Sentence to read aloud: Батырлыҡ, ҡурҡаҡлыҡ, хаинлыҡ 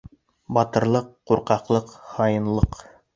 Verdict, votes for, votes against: accepted, 2, 0